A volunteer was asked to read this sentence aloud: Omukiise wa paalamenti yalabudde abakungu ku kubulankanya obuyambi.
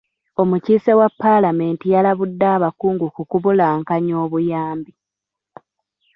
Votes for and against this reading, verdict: 2, 1, accepted